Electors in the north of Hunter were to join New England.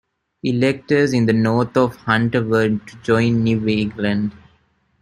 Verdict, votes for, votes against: rejected, 0, 2